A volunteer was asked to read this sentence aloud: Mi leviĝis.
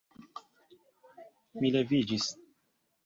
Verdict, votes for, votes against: rejected, 0, 2